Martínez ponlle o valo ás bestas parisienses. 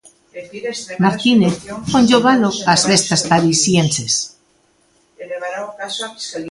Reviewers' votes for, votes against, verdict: 3, 4, rejected